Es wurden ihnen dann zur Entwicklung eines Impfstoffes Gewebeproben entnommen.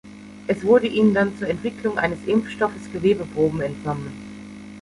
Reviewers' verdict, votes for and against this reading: rejected, 0, 2